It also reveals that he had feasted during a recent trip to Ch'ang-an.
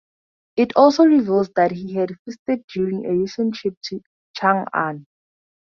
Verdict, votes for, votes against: accepted, 4, 0